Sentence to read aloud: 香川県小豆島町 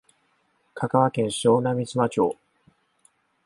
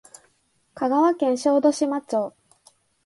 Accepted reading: second